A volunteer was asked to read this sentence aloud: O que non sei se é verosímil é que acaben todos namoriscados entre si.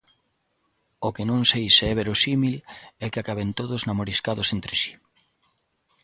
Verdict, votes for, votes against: accepted, 2, 0